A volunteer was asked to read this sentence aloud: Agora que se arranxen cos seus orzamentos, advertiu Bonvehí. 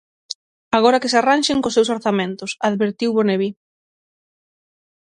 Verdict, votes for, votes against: rejected, 3, 3